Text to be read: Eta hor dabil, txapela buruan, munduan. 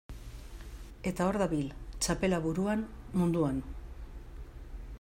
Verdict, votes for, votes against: accepted, 2, 0